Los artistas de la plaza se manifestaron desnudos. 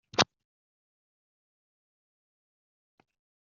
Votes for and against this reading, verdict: 0, 2, rejected